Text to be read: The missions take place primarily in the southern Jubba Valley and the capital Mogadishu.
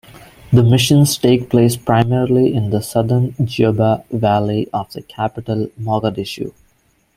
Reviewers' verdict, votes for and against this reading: rejected, 0, 2